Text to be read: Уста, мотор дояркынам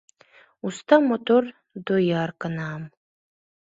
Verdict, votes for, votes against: accepted, 2, 0